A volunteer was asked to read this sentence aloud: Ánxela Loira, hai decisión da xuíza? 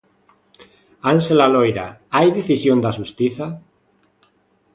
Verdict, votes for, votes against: rejected, 0, 2